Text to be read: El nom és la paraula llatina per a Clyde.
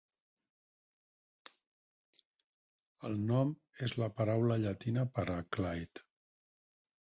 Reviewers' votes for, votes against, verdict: 4, 2, accepted